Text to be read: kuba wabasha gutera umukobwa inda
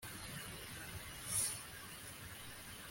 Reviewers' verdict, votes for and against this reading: rejected, 0, 2